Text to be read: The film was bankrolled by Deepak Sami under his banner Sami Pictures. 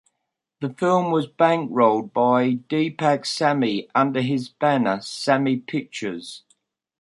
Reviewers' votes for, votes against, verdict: 2, 0, accepted